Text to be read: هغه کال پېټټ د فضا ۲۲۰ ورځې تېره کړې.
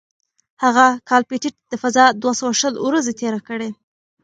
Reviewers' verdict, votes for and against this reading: rejected, 0, 2